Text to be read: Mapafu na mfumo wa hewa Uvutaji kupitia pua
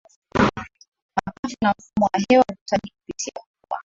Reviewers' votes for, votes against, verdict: 0, 2, rejected